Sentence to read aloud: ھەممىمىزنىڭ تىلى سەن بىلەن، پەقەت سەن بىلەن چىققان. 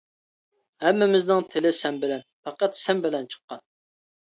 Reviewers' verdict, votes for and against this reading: accepted, 2, 0